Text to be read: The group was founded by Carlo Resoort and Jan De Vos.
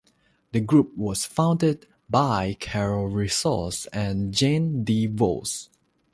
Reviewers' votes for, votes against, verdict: 0, 3, rejected